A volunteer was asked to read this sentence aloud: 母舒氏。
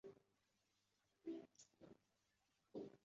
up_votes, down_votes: 1, 2